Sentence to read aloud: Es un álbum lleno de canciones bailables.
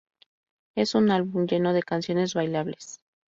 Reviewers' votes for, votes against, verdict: 2, 0, accepted